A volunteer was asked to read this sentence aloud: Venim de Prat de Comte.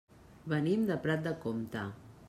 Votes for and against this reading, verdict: 2, 0, accepted